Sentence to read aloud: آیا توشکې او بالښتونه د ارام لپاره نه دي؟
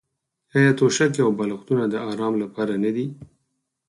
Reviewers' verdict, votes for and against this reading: accepted, 4, 0